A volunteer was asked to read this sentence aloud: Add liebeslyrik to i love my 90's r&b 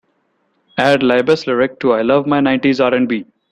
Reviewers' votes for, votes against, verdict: 0, 2, rejected